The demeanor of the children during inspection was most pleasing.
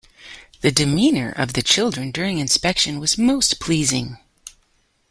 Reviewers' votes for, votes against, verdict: 2, 0, accepted